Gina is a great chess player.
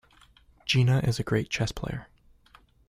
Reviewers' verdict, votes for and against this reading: accepted, 2, 0